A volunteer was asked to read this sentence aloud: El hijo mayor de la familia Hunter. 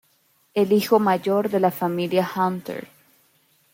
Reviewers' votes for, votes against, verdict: 2, 0, accepted